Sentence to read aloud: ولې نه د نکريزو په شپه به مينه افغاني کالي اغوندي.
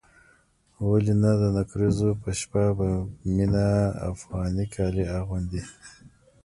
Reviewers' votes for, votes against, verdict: 2, 1, accepted